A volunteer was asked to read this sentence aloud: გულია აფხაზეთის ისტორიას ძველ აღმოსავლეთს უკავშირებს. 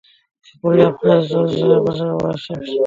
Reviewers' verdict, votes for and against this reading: rejected, 0, 2